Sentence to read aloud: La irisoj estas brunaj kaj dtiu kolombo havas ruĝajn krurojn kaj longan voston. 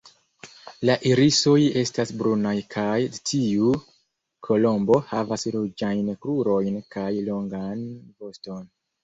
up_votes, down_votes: 2, 0